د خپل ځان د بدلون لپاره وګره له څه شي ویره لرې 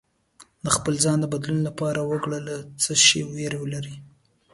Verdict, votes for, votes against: accepted, 2, 1